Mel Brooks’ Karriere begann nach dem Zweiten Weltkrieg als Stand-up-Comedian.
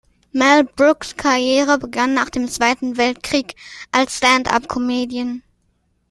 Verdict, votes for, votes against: accepted, 2, 0